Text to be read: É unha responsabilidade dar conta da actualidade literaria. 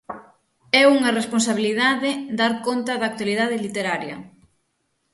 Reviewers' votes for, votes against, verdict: 6, 0, accepted